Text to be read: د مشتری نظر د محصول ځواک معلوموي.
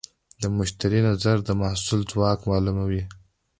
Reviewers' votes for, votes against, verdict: 2, 1, accepted